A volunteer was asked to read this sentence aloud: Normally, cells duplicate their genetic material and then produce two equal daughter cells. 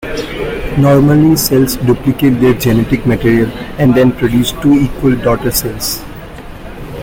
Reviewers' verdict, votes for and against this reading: accepted, 2, 1